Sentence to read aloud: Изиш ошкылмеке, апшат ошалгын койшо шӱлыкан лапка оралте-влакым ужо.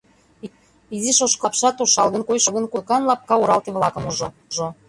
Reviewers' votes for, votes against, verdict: 0, 2, rejected